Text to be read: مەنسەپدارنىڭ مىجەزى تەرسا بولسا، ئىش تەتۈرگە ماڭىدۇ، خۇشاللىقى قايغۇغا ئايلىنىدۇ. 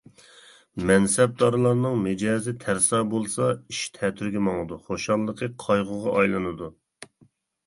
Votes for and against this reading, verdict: 1, 2, rejected